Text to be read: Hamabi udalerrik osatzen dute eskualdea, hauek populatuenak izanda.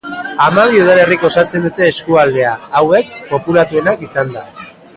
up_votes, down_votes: 4, 1